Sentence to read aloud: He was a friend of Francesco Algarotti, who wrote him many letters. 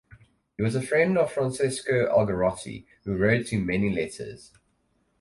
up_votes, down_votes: 4, 0